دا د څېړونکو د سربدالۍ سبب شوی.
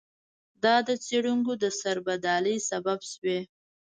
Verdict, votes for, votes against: rejected, 1, 2